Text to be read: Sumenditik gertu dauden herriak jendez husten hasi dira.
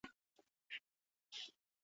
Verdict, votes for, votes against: rejected, 0, 4